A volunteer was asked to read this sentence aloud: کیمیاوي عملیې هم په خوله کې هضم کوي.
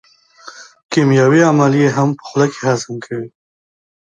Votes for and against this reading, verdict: 1, 2, rejected